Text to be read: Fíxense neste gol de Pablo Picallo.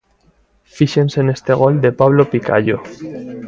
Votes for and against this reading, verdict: 2, 0, accepted